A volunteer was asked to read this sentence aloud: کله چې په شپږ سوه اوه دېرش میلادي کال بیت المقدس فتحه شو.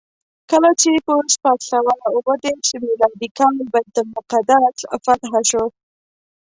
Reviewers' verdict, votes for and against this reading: accepted, 2, 0